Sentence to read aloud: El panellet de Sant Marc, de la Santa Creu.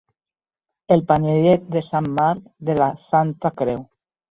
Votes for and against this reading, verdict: 3, 0, accepted